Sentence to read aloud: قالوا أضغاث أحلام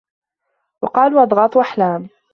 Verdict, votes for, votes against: rejected, 0, 2